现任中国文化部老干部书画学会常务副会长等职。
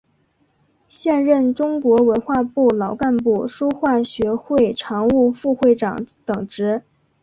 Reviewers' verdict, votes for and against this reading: accepted, 7, 0